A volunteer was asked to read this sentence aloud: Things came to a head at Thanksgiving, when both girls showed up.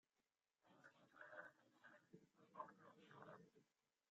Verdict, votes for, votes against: rejected, 0, 2